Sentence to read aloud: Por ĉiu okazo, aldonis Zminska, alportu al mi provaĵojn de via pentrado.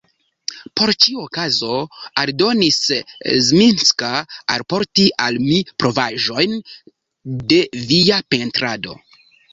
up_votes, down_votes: 0, 2